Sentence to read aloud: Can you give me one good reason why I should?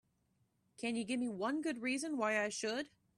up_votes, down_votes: 2, 0